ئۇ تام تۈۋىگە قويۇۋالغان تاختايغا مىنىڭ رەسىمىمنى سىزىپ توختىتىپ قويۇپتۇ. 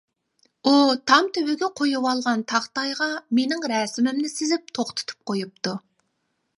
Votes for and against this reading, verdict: 2, 0, accepted